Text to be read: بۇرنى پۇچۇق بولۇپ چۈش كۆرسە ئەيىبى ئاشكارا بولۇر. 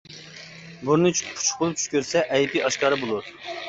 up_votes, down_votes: 0, 2